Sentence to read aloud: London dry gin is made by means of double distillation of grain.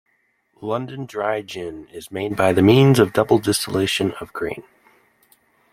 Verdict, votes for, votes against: rejected, 1, 3